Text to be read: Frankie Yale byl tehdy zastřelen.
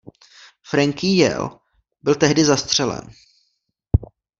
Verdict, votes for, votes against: rejected, 0, 2